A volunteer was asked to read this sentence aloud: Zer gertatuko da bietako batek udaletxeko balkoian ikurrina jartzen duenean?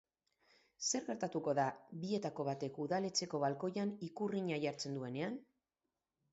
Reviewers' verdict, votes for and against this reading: accepted, 6, 0